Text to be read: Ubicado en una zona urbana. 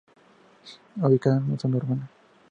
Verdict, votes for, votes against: accepted, 2, 0